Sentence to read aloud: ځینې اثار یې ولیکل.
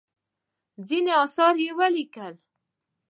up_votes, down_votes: 2, 0